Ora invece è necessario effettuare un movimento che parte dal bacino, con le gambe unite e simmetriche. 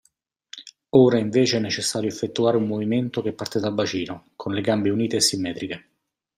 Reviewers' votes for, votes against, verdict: 2, 0, accepted